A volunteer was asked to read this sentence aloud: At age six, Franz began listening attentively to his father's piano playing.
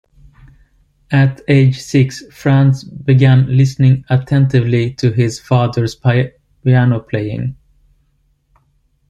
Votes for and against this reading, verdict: 0, 2, rejected